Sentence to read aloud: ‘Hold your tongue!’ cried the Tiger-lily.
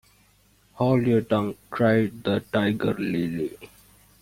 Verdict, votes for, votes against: rejected, 0, 2